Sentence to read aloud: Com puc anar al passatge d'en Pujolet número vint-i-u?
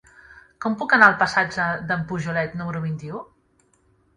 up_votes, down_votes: 3, 0